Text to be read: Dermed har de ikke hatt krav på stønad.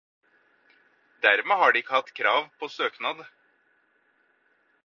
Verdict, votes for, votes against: rejected, 0, 4